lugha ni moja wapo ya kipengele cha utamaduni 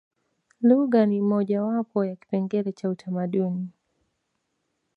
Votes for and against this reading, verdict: 1, 2, rejected